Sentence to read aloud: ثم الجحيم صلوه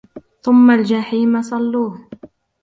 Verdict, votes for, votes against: rejected, 1, 2